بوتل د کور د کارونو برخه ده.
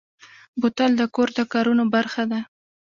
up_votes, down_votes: 2, 0